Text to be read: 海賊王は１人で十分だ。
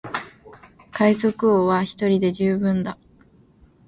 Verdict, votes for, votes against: rejected, 0, 2